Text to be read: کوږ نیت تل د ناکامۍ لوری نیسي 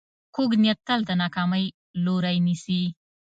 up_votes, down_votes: 2, 0